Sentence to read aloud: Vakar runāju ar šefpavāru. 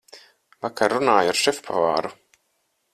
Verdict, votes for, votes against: accepted, 4, 0